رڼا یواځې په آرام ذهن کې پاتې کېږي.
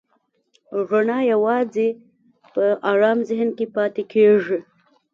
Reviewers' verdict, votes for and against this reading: accepted, 2, 0